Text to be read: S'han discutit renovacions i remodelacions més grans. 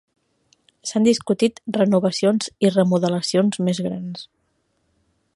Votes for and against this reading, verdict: 2, 3, rejected